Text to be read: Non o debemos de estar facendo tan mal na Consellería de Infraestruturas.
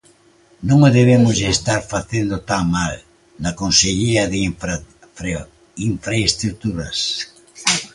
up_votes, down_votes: 0, 2